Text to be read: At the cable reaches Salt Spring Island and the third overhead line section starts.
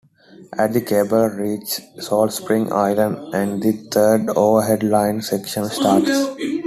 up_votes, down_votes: 2, 1